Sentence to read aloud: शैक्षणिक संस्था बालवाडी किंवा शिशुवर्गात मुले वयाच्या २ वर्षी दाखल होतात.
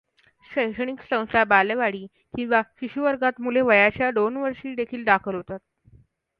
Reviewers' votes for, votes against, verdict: 0, 2, rejected